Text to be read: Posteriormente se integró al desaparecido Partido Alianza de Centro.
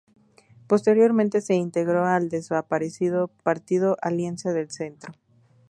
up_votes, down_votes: 0, 2